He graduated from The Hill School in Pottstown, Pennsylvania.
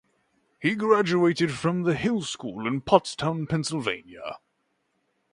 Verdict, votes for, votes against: accepted, 3, 0